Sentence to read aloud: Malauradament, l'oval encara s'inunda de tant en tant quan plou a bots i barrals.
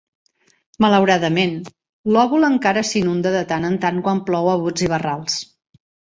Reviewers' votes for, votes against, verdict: 0, 2, rejected